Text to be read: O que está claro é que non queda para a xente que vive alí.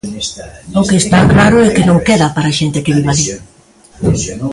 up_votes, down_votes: 0, 2